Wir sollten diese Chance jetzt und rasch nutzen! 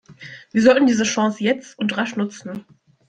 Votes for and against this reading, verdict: 2, 0, accepted